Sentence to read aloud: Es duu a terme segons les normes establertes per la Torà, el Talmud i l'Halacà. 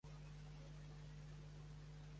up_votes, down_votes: 1, 2